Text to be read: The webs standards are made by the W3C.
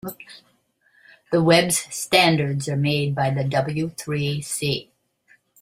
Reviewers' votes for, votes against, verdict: 0, 2, rejected